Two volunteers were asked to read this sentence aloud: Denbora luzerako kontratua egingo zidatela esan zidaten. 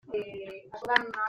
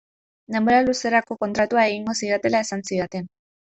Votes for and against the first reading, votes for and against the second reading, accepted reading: 0, 2, 2, 0, second